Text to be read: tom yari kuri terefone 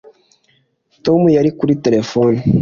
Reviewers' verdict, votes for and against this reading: accepted, 2, 0